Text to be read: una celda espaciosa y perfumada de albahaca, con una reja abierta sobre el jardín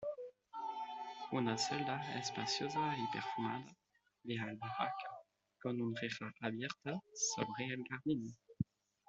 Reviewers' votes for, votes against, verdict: 1, 2, rejected